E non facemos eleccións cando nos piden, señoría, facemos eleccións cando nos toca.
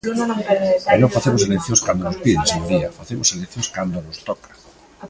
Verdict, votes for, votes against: rejected, 1, 2